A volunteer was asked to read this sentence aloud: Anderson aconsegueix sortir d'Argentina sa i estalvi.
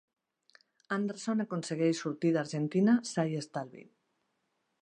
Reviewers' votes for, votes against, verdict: 2, 0, accepted